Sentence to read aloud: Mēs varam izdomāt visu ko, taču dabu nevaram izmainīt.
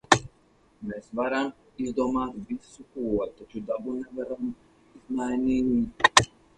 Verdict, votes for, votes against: rejected, 2, 4